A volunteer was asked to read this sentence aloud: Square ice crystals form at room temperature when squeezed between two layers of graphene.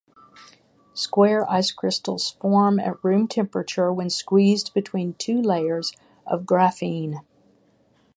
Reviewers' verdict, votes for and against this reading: rejected, 0, 3